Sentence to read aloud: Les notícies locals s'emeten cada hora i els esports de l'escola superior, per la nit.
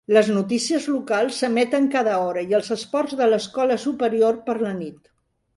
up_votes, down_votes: 0, 2